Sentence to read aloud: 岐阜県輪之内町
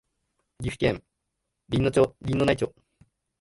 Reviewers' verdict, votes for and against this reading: rejected, 1, 2